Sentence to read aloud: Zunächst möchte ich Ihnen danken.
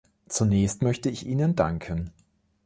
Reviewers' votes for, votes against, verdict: 2, 0, accepted